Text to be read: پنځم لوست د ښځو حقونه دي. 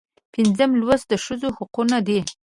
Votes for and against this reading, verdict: 2, 0, accepted